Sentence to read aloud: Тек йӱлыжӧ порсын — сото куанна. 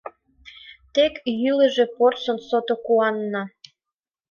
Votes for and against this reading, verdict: 2, 0, accepted